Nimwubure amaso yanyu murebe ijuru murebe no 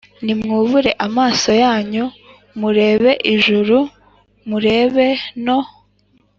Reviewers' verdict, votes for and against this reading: accepted, 3, 0